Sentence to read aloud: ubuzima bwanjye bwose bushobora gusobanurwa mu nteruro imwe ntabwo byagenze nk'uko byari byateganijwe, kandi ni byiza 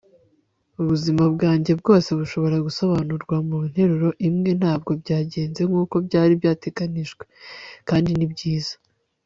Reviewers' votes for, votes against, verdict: 2, 0, accepted